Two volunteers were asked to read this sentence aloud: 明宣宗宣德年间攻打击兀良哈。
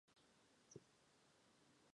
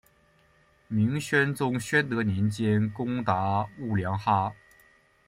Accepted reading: second